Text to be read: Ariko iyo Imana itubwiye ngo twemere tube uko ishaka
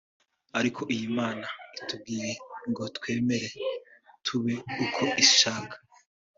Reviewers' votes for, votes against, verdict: 2, 0, accepted